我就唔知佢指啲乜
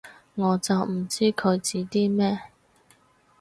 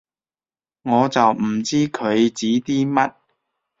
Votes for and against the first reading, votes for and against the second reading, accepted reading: 2, 4, 2, 0, second